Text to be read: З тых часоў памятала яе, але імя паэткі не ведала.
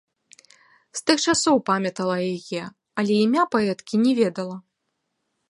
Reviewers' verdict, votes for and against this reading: accepted, 2, 1